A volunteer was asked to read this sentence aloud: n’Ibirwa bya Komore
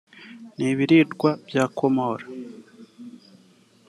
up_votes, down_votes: 1, 3